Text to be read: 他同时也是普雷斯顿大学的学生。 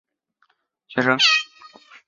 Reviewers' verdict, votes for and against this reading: rejected, 1, 4